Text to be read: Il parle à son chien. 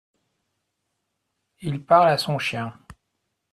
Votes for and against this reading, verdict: 2, 0, accepted